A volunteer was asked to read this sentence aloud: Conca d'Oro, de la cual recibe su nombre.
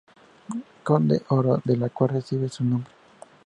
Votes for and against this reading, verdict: 0, 2, rejected